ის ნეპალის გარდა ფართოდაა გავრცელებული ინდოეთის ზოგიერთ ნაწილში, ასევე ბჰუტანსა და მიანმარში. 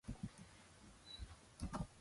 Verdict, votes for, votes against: accepted, 2, 0